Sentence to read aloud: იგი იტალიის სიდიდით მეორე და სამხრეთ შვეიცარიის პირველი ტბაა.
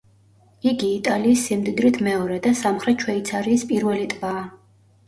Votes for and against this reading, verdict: 0, 2, rejected